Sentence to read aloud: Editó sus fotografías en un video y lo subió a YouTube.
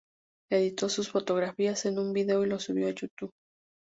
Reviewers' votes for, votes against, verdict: 2, 2, rejected